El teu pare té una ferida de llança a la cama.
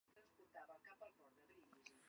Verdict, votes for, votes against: rejected, 1, 3